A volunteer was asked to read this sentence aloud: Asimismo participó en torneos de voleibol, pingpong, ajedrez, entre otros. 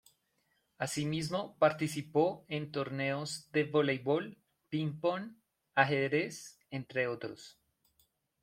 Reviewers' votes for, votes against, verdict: 2, 0, accepted